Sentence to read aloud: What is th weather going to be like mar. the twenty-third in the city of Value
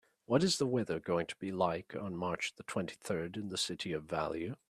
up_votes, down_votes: 3, 1